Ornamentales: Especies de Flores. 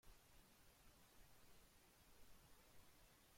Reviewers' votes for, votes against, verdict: 0, 2, rejected